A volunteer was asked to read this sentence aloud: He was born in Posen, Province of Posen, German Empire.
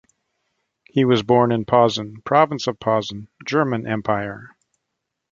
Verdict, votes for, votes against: accepted, 2, 0